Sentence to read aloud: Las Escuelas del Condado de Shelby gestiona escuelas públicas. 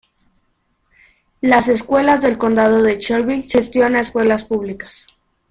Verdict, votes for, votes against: accepted, 2, 1